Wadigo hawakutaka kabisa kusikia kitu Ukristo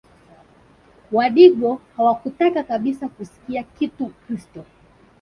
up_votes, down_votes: 1, 4